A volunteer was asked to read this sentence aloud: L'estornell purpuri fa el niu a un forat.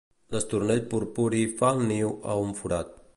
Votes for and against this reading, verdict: 2, 0, accepted